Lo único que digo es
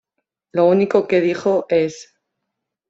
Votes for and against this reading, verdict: 0, 2, rejected